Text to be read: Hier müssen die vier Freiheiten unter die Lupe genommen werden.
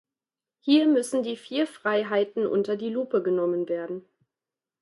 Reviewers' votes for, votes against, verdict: 2, 0, accepted